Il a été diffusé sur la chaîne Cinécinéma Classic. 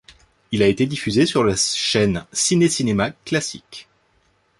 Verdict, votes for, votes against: rejected, 1, 2